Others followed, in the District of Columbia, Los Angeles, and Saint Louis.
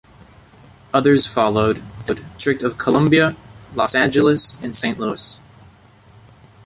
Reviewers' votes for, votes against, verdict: 0, 2, rejected